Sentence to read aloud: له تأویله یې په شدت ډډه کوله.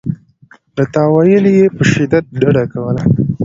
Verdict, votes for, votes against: accepted, 2, 0